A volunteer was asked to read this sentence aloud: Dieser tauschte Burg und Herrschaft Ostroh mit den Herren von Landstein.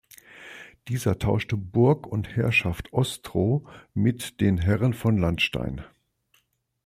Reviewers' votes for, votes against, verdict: 2, 0, accepted